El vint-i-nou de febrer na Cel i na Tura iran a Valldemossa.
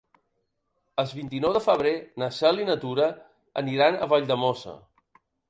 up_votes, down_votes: 1, 2